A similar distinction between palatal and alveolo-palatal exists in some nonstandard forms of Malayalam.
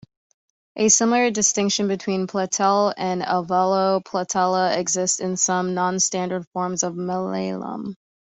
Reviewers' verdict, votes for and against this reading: rejected, 1, 2